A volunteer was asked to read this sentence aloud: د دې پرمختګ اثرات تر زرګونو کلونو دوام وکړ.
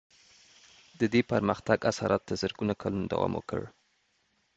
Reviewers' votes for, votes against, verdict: 2, 0, accepted